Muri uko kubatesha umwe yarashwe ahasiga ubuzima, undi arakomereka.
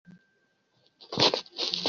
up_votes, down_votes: 0, 2